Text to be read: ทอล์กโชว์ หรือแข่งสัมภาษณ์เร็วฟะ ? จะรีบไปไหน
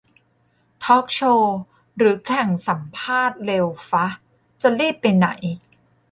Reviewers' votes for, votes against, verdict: 2, 0, accepted